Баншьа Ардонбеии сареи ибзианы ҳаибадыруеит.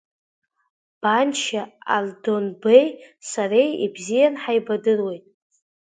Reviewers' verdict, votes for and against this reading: rejected, 0, 2